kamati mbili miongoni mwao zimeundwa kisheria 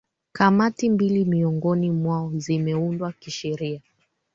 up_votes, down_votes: 2, 1